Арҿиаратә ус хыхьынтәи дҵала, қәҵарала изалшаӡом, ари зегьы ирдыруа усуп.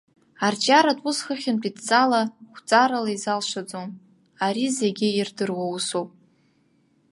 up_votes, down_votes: 1, 2